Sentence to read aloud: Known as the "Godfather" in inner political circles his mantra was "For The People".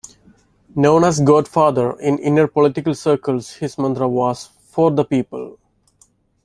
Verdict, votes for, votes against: rejected, 1, 2